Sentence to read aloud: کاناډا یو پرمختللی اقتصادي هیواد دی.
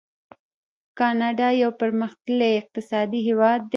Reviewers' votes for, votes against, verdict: 1, 2, rejected